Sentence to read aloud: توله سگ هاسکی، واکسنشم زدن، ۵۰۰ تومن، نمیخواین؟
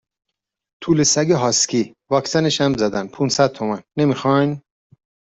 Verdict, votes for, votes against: rejected, 0, 2